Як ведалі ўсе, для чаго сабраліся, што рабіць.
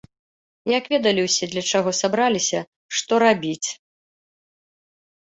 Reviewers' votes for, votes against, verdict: 2, 0, accepted